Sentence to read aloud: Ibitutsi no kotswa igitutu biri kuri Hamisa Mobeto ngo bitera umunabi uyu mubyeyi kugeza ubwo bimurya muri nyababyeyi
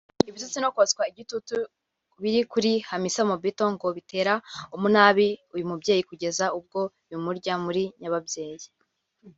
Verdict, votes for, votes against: rejected, 0, 2